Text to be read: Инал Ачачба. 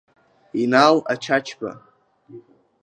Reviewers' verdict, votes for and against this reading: accepted, 2, 0